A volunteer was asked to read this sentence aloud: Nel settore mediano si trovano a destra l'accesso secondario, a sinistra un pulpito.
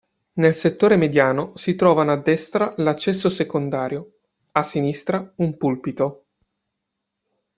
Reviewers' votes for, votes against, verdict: 2, 0, accepted